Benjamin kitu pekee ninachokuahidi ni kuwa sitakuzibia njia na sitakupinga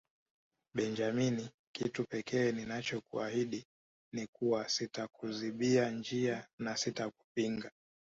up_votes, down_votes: 1, 2